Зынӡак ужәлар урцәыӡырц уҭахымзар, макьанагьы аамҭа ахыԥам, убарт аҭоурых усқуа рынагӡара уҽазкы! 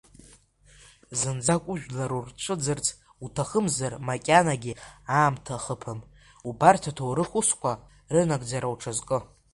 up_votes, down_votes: 3, 2